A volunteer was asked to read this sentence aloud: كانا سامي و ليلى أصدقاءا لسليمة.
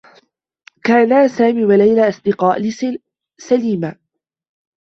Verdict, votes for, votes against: rejected, 0, 2